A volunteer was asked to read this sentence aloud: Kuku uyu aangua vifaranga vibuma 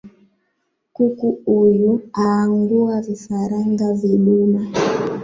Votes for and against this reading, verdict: 1, 3, rejected